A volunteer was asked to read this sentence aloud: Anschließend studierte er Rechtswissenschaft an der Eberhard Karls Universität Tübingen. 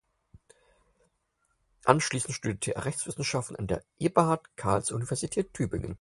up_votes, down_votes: 2, 4